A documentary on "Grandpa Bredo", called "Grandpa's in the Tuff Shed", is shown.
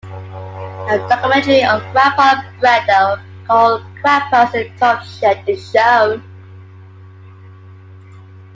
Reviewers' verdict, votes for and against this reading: accepted, 2, 1